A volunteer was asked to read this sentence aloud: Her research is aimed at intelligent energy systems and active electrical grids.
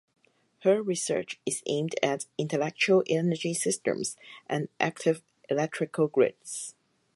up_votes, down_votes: 0, 4